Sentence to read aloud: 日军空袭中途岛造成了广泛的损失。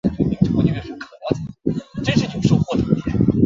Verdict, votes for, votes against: rejected, 1, 4